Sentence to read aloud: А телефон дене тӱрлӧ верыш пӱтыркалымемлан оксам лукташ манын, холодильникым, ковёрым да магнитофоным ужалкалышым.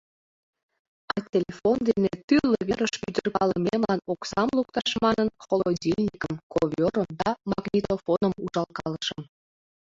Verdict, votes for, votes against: rejected, 1, 3